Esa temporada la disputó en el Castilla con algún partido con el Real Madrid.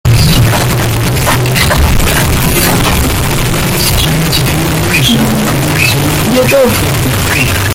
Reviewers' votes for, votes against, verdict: 0, 2, rejected